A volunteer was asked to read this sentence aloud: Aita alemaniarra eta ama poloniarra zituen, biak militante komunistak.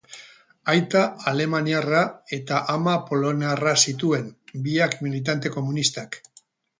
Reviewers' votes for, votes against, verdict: 2, 4, rejected